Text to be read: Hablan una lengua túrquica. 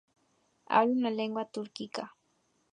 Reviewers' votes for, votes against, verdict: 2, 0, accepted